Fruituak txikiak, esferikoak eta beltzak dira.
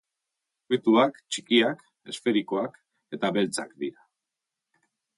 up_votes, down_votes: 3, 0